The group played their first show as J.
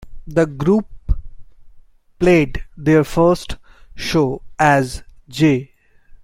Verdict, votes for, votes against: rejected, 1, 2